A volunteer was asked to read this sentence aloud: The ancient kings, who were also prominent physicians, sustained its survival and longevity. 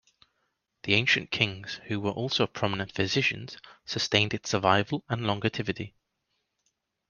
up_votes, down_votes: 1, 2